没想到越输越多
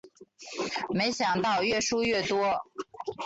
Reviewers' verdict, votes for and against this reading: accepted, 2, 0